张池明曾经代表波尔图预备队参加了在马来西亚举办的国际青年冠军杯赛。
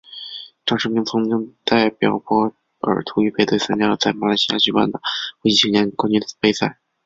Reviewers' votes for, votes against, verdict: 4, 2, accepted